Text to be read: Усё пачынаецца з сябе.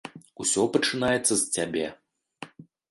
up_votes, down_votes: 0, 2